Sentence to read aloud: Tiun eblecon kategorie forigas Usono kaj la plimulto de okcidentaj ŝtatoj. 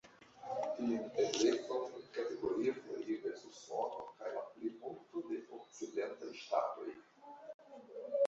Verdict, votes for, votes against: rejected, 0, 2